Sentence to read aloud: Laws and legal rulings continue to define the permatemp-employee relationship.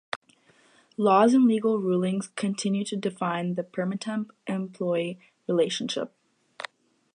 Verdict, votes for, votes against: accepted, 2, 0